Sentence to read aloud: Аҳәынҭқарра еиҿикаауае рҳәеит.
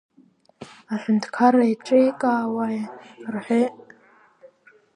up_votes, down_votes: 1, 2